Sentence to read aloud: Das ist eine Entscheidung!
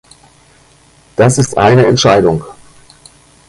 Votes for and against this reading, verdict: 1, 2, rejected